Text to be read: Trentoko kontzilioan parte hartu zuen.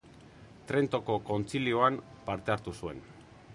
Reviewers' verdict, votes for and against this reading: accepted, 3, 0